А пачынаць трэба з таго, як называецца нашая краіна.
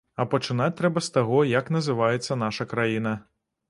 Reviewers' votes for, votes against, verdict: 0, 2, rejected